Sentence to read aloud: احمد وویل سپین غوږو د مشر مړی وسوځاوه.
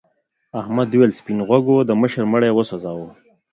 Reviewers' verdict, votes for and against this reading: accepted, 2, 0